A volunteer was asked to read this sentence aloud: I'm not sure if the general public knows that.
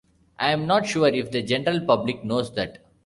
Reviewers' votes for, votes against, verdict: 2, 1, accepted